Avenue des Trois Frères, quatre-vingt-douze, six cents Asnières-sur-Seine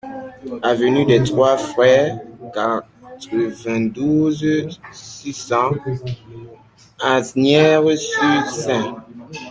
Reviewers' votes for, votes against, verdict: 0, 2, rejected